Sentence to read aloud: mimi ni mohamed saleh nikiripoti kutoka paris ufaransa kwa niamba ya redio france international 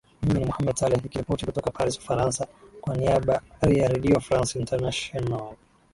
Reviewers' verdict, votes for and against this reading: rejected, 2, 2